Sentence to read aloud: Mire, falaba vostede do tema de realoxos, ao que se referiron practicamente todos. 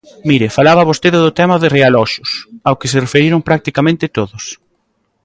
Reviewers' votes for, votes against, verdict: 2, 0, accepted